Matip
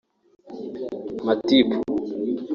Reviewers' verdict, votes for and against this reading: rejected, 1, 2